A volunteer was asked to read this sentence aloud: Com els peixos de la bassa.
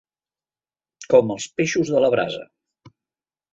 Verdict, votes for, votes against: rejected, 0, 2